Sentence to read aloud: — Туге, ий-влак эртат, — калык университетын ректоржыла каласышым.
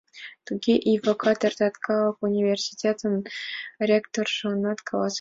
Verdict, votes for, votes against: rejected, 0, 2